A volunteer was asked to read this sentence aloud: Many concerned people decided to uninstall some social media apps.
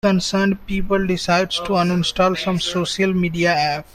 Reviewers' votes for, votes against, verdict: 0, 2, rejected